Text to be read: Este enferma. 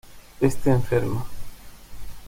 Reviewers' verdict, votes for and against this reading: accepted, 2, 0